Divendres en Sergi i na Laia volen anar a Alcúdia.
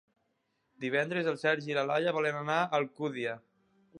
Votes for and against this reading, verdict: 0, 2, rejected